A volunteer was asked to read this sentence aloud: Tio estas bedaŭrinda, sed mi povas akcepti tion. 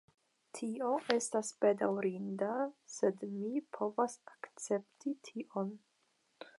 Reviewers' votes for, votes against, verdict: 5, 0, accepted